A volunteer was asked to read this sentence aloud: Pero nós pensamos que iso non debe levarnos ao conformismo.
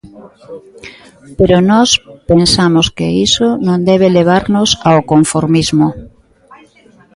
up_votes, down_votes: 1, 2